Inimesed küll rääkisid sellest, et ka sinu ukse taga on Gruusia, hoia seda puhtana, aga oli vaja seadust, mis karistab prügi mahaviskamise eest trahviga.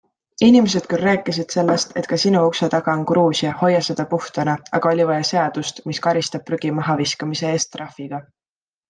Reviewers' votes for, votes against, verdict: 2, 0, accepted